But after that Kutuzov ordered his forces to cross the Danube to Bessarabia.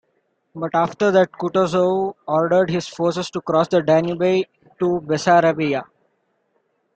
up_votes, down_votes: 2, 1